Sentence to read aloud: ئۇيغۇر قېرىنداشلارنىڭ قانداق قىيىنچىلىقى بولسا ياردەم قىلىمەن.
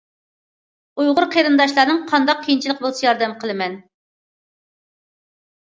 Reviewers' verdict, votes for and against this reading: accepted, 2, 0